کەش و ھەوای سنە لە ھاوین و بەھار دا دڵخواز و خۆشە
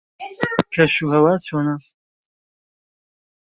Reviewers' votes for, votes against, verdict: 0, 2, rejected